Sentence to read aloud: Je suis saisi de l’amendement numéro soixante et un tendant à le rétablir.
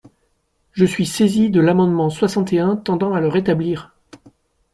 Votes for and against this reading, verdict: 1, 2, rejected